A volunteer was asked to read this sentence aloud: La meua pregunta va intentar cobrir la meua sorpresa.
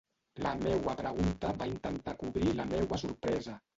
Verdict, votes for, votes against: rejected, 0, 2